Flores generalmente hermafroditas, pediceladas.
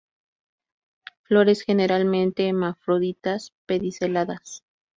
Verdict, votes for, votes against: rejected, 0, 2